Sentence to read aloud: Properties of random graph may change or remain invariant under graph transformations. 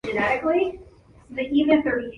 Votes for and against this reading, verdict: 0, 2, rejected